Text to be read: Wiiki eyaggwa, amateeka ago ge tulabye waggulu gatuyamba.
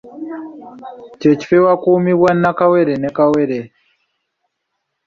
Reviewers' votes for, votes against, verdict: 1, 2, rejected